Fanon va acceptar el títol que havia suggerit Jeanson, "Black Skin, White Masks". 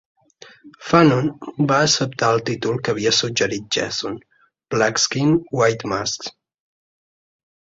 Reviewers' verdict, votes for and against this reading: rejected, 0, 2